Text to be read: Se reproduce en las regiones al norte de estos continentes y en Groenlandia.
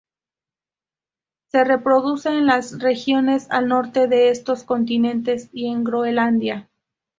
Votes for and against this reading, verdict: 0, 2, rejected